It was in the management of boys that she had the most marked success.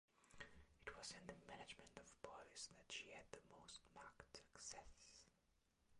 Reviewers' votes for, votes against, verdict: 1, 2, rejected